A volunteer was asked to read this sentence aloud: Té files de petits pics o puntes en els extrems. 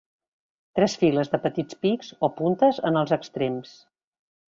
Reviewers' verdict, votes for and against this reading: rejected, 1, 2